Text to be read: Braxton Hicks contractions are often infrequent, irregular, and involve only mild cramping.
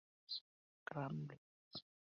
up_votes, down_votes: 0, 2